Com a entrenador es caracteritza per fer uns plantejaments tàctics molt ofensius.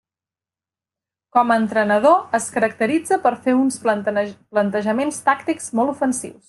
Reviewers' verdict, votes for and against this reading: rejected, 1, 2